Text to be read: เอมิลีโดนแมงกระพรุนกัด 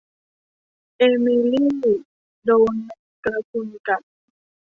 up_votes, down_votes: 1, 2